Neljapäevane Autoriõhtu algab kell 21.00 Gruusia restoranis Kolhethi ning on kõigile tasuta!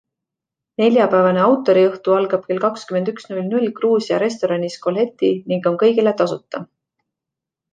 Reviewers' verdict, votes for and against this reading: rejected, 0, 2